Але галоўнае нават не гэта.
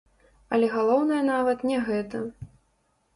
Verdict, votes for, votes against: rejected, 0, 2